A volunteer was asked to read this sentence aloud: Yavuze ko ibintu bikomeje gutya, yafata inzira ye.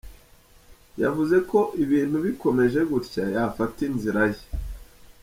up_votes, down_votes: 2, 0